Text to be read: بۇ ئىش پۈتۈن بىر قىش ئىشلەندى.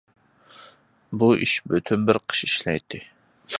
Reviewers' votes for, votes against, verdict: 0, 2, rejected